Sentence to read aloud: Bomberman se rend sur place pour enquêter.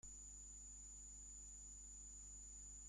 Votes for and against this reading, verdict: 0, 2, rejected